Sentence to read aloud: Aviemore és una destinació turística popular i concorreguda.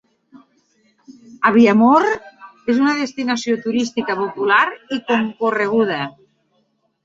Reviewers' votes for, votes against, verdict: 2, 0, accepted